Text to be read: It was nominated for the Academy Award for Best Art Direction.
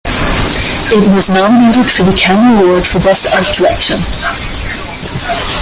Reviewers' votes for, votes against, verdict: 0, 2, rejected